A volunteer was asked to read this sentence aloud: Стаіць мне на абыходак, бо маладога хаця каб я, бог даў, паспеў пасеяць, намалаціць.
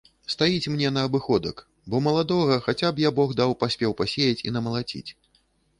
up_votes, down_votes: 1, 2